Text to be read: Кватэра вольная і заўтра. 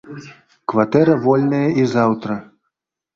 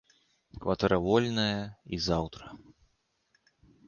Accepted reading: second